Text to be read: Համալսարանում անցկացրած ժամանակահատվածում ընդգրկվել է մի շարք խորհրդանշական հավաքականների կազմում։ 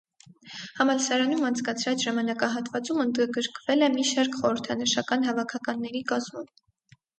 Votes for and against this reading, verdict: 0, 4, rejected